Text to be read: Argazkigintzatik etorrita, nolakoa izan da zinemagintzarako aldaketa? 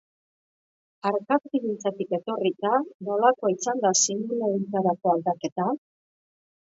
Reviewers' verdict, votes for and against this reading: rejected, 1, 2